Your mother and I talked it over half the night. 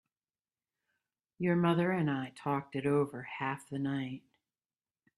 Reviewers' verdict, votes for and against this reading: accepted, 2, 0